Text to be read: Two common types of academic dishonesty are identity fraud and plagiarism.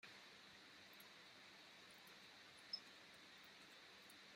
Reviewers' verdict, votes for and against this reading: rejected, 0, 2